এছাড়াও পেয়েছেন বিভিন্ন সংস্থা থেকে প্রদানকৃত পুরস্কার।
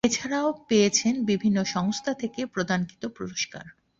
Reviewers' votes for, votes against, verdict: 2, 0, accepted